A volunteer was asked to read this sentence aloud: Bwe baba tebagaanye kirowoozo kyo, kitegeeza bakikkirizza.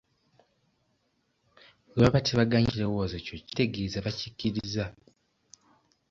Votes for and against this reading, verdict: 2, 1, accepted